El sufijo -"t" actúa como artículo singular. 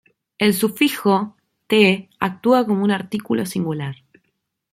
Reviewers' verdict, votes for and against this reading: rejected, 0, 2